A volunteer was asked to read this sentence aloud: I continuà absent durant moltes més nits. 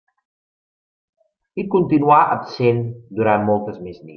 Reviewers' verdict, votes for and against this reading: accepted, 3, 0